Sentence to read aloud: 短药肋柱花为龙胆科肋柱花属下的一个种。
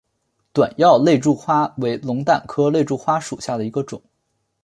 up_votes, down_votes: 2, 0